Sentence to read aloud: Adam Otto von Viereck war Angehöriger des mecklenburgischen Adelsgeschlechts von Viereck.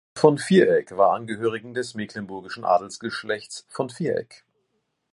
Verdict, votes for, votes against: rejected, 0, 2